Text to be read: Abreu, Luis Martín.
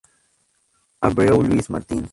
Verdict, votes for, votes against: rejected, 2, 4